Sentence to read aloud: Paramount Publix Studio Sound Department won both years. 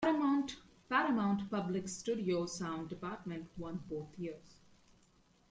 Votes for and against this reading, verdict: 0, 2, rejected